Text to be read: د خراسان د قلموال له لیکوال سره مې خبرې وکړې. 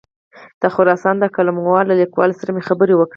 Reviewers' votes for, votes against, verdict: 4, 2, accepted